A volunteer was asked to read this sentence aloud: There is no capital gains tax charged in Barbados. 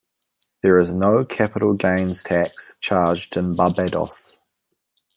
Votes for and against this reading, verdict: 2, 0, accepted